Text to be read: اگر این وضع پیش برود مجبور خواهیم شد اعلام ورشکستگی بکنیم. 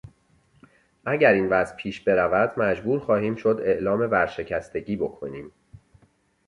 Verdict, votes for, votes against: accepted, 2, 0